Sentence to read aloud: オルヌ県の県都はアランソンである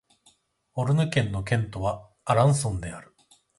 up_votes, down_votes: 2, 0